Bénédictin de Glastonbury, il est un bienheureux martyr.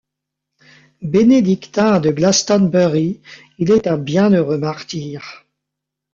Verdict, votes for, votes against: accepted, 2, 0